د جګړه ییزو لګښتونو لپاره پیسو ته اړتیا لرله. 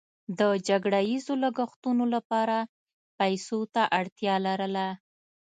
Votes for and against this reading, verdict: 2, 0, accepted